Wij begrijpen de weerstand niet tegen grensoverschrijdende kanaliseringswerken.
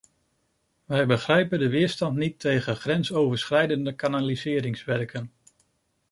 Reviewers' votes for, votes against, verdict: 2, 0, accepted